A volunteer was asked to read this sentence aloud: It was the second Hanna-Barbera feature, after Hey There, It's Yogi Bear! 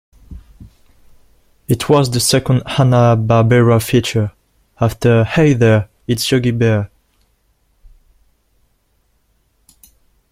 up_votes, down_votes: 2, 0